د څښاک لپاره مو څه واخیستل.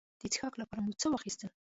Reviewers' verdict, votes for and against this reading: rejected, 1, 2